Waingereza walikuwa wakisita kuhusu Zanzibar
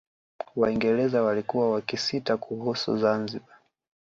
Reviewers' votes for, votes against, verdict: 2, 0, accepted